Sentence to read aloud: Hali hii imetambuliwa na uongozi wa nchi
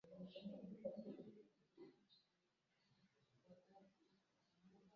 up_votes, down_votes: 0, 3